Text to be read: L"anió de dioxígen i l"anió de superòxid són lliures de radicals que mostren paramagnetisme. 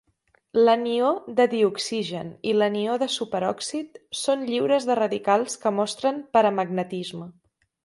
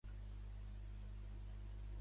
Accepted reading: first